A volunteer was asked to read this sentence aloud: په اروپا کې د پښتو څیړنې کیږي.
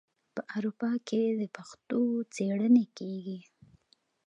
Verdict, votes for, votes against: accepted, 2, 0